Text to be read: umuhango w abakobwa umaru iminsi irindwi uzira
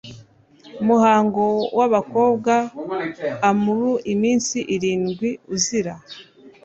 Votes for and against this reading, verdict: 0, 2, rejected